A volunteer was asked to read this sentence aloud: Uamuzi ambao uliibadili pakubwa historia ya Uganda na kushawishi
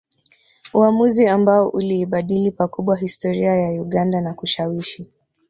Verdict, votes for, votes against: rejected, 0, 2